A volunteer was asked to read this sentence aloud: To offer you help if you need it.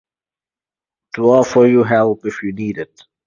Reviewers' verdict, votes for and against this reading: accepted, 4, 0